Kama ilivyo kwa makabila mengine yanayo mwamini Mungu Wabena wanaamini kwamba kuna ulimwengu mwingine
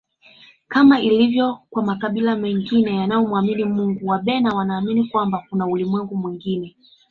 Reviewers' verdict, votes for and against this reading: accepted, 2, 0